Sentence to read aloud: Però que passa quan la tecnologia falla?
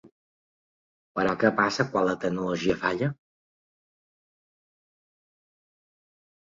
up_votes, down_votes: 2, 0